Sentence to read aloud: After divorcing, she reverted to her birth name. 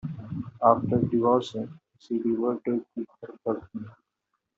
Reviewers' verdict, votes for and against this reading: rejected, 0, 2